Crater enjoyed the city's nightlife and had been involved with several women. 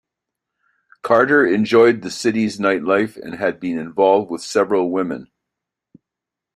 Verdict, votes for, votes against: rejected, 1, 2